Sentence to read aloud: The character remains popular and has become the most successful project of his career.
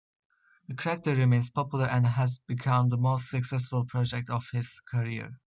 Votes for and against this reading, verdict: 2, 0, accepted